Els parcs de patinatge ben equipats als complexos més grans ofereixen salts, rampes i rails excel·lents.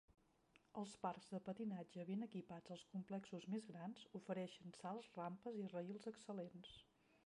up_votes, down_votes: 2, 1